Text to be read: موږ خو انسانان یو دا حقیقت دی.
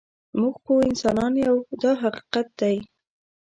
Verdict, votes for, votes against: rejected, 1, 2